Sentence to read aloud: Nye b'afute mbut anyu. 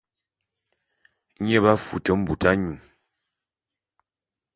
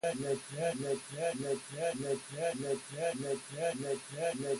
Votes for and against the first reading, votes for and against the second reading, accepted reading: 2, 0, 0, 2, first